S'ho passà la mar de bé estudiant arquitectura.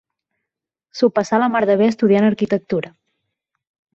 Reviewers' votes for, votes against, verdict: 6, 0, accepted